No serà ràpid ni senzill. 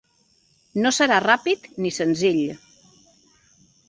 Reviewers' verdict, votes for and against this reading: accepted, 3, 0